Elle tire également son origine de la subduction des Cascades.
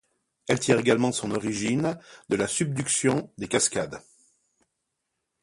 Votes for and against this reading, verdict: 2, 0, accepted